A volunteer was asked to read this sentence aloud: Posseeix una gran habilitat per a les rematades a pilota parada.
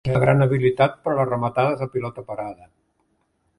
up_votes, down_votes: 0, 2